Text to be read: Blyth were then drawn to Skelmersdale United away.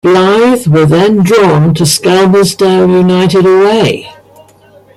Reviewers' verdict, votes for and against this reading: rejected, 0, 2